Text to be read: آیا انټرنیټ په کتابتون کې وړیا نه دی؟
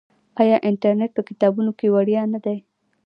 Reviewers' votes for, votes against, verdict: 1, 2, rejected